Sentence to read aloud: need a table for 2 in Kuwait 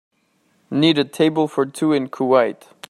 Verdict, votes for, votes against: rejected, 0, 2